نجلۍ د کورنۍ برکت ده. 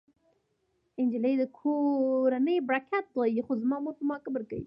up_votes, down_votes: 0, 2